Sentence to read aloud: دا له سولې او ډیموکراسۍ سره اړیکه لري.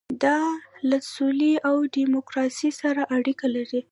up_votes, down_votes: 0, 2